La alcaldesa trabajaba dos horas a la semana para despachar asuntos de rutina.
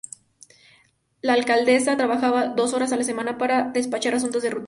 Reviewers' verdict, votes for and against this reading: rejected, 0, 2